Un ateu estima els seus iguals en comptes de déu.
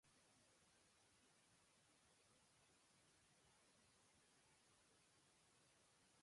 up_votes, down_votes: 0, 2